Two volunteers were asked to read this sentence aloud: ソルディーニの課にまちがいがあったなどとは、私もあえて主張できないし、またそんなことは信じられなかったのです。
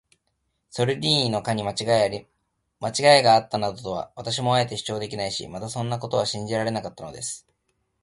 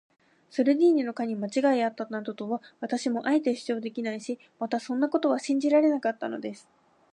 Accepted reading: second